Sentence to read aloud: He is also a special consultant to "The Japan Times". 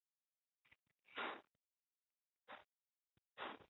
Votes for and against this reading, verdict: 0, 2, rejected